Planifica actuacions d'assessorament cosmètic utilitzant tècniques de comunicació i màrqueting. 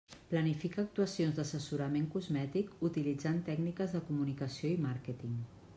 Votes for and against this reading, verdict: 3, 0, accepted